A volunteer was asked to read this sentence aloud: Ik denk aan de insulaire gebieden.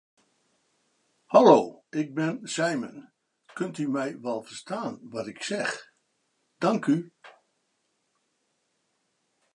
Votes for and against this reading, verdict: 0, 2, rejected